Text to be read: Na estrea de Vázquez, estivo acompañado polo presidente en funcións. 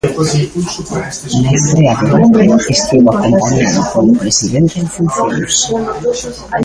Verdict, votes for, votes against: rejected, 0, 2